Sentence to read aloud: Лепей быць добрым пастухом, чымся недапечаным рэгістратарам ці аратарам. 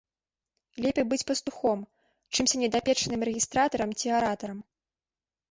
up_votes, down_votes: 1, 2